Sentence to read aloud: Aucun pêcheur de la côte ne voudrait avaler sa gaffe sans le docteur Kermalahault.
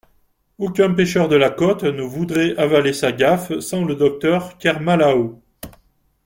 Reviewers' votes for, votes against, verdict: 2, 0, accepted